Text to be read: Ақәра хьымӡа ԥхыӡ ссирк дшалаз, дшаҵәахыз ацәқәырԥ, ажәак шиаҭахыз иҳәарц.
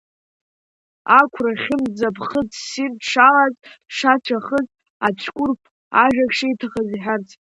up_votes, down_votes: 0, 2